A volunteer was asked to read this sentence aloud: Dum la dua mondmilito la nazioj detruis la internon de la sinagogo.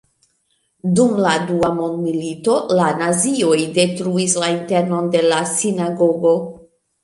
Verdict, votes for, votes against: rejected, 1, 2